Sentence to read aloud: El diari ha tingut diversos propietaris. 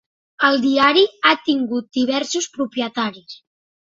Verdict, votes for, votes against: accepted, 2, 0